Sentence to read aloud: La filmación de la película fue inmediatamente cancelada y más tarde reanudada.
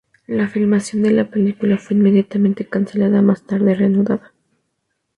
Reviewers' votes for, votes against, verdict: 0, 2, rejected